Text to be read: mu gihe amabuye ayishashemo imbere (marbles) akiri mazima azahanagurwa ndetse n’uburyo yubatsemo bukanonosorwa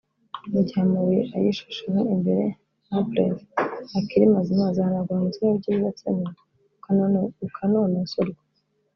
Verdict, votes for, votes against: rejected, 0, 2